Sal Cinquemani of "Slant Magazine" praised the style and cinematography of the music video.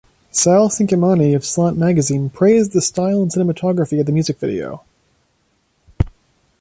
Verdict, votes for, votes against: accepted, 2, 0